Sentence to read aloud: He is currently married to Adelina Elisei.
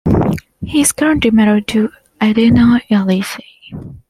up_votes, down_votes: 0, 2